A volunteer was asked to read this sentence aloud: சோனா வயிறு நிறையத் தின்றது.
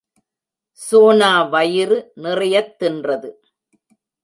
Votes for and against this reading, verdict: 2, 0, accepted